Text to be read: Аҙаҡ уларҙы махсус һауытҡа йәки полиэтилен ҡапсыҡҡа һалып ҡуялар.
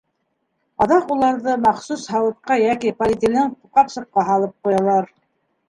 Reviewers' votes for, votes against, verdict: 0, 2, rejected